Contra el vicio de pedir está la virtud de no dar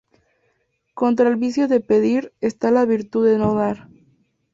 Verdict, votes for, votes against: accepted, 2, 0